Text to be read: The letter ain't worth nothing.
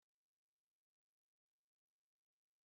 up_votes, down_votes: 0, 3